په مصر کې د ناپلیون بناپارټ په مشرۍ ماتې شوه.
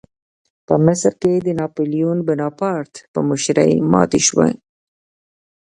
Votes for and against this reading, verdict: 0, 2, rejected